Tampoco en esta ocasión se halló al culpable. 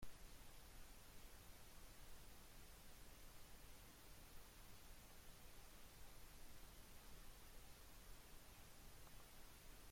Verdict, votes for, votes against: rejected, 0, 2